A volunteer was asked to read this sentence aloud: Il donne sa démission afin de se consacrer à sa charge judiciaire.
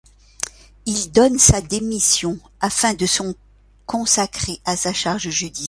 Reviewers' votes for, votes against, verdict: 0, 3, rejected